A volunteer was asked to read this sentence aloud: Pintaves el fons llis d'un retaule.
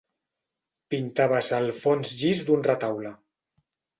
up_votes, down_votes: 2, 0